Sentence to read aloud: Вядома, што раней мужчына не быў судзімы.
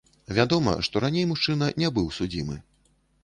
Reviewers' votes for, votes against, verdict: 0, 2, rejected